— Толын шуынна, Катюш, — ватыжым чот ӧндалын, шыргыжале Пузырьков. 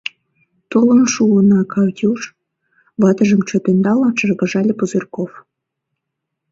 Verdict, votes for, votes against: accepted, 2, 1